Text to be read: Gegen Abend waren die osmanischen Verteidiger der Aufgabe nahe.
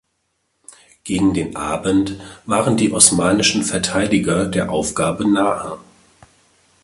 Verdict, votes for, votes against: rejected, 0, 2